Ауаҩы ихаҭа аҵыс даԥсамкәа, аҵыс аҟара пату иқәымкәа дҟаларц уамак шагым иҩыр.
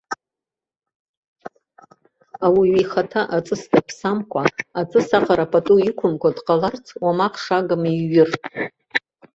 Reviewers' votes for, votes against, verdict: 0, 2, rejected